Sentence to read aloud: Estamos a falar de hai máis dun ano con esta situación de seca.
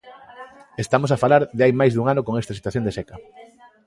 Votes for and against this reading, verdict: 2, 0, accepted